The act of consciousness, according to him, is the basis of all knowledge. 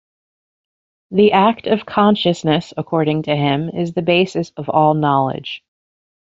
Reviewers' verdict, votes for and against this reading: accepted, 2, 0